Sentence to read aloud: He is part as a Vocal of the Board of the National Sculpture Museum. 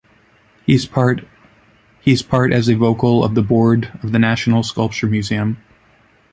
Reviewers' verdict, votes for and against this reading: rejected, 1, 2